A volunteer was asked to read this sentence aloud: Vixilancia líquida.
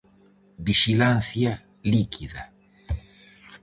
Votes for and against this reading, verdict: 4, 0, accepted